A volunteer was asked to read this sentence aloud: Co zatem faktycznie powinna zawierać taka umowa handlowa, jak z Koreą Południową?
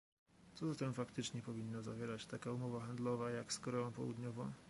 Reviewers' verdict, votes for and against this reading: accepted, 2, 0